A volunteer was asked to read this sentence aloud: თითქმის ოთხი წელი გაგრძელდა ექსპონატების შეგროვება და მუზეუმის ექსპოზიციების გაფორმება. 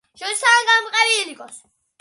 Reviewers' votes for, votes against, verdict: 0, 2, rejected